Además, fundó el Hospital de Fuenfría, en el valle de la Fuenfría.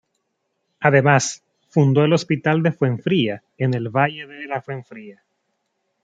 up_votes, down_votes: 2, 0